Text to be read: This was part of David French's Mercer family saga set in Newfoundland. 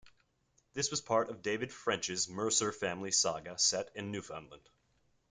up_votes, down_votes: 2, 1